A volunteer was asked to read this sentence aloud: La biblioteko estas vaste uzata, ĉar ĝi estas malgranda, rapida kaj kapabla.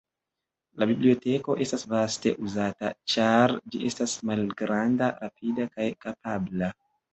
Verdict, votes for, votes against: accepted, 3, 1